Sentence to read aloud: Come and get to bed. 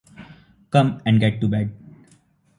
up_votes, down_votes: 2, 0